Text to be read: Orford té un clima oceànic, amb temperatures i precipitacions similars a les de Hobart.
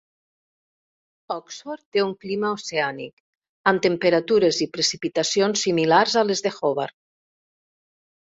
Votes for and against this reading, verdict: 0, 2, rejected